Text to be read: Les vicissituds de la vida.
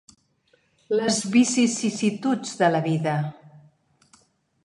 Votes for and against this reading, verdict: 1, 2, rejected